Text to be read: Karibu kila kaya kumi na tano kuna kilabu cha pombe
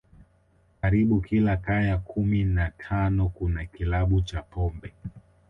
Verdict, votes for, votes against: accepted, 3, 1